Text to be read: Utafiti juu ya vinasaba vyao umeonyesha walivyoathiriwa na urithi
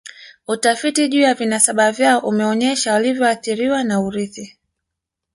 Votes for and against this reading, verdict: 1, 2, rejected